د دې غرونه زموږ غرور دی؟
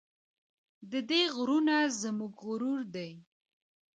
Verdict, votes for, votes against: accepted, 2, 1